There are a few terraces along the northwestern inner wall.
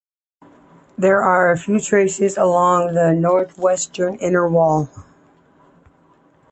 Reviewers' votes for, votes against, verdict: 2, 1, accepted